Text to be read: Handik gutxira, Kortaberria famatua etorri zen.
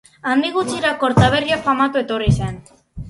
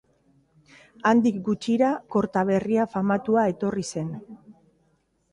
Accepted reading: second